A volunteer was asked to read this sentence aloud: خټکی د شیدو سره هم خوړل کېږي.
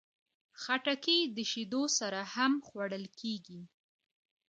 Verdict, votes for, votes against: accepted, 2, 0